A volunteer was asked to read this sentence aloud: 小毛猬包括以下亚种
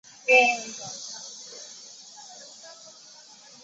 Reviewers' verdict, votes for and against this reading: rejected, 0, 4